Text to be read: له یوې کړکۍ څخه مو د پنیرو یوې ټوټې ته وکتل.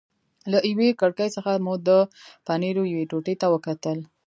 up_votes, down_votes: 1, 2